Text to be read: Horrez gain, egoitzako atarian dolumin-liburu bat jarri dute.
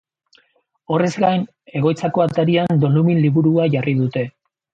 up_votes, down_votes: 1, 2